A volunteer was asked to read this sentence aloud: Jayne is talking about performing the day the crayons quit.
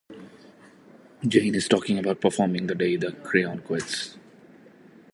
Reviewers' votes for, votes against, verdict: 0, 2, rejected